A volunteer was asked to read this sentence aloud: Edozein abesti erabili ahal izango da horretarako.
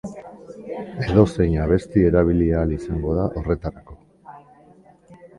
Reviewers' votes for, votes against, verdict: 1, 2, rejected